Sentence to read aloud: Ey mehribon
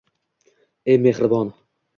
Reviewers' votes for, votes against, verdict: 2, 1, accepted